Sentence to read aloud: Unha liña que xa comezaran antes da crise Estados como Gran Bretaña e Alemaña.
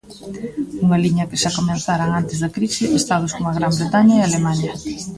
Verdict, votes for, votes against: rejected, 0, 2